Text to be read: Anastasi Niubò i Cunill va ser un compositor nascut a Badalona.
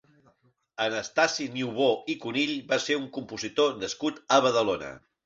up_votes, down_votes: 2, 0